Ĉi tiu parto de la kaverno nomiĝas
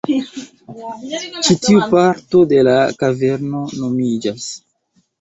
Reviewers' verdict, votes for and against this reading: accepted, 2, 0